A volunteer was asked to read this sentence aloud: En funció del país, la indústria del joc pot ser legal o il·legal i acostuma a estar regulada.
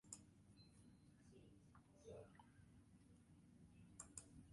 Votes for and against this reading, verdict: 0, 2, rejected